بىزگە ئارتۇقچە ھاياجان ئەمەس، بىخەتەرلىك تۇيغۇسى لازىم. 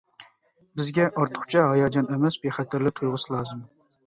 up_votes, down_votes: 2, 0